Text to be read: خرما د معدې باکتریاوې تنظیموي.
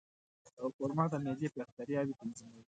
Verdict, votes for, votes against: accepted, 2, 0